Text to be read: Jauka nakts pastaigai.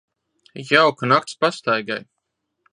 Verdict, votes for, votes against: accepted, 2, 0